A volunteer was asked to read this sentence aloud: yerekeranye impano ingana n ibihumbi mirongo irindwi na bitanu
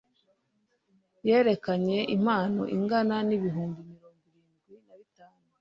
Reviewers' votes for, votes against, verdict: 1, 2, rejected